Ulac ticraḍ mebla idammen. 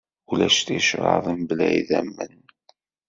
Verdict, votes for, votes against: accepted, 2, 1